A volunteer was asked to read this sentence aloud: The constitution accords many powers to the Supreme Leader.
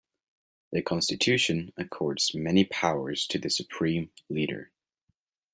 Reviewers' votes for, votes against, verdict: 2, 0, accepted